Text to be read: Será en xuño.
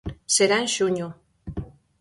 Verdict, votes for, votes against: accepted, 4, 0